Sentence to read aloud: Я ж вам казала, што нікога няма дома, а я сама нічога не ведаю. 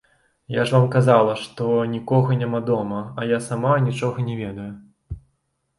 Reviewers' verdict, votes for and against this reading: accepted, 3, 0